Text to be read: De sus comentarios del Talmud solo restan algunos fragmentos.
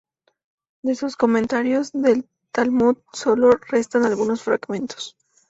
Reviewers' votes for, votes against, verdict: 2, 2, rejected